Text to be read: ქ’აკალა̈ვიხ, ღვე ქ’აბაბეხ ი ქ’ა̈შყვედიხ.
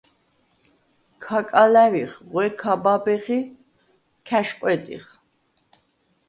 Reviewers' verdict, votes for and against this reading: accepted, 2, 0